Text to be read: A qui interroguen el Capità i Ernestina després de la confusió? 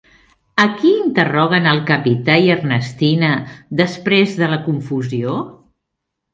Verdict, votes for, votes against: accepted, 3, 0